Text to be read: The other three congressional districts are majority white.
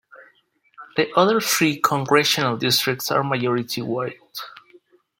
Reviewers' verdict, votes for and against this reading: accepted, 2, 1